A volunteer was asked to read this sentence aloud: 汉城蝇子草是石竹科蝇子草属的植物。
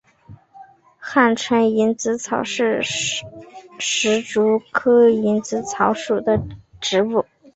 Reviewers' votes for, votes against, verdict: 3, 2, accepted